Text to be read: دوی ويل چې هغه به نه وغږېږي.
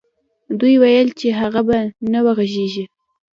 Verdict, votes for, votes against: rejected, 1, 2